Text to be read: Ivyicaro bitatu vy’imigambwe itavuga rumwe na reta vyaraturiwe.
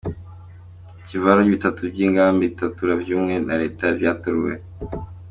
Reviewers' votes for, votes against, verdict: 2, 0, accepted